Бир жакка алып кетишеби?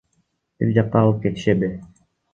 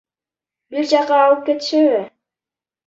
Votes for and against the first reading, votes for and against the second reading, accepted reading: 2, 0, 0, 2, first